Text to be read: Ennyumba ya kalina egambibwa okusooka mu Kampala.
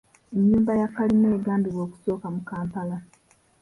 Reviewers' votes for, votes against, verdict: 2, 1, accepted